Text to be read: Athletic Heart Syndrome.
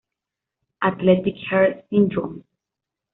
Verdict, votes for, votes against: accepted, 2, 0